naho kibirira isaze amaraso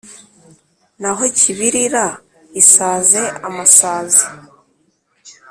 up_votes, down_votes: 1, 2